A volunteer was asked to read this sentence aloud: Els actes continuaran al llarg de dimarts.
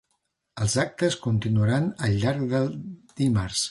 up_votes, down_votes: 0, 2